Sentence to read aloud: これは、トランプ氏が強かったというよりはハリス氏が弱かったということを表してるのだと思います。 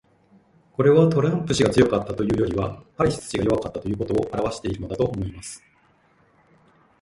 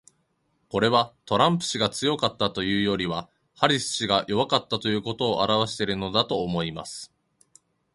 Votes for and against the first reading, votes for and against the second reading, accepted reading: 2, 0, 1, 2, first